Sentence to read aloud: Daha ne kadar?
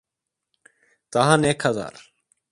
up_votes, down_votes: 2, 0